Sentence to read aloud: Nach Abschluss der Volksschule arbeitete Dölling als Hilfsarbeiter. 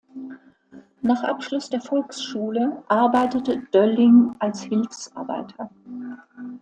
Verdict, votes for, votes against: accepted, 2, 0